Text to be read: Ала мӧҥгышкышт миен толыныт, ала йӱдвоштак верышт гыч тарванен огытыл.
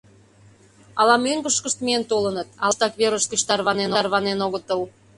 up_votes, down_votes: 0, 2